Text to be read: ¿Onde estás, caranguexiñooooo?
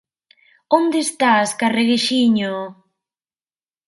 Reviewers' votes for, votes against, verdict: 0, 2, rejected